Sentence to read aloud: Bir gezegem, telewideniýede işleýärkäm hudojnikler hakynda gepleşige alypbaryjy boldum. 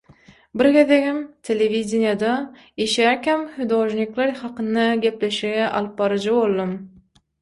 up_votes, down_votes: 3, 6